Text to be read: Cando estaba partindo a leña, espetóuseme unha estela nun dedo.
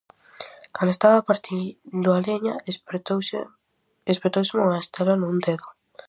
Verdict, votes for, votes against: rejected, 0, 2